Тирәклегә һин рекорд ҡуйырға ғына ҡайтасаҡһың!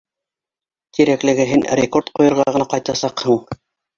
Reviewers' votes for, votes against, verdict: 1, 2, rejected